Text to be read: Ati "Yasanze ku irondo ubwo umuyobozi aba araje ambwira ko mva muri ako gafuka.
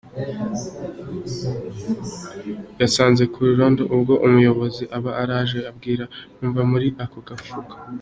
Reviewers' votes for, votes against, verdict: 2, 0, accepted